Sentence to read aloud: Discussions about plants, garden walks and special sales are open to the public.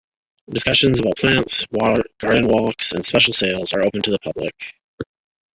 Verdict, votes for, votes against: accepted, 2, 0